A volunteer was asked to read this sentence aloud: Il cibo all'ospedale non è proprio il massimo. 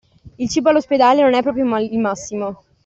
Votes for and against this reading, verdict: 2, 0, accepted